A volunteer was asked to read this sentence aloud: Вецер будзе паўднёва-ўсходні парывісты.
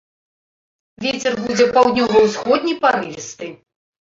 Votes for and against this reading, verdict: 2, 0, accepted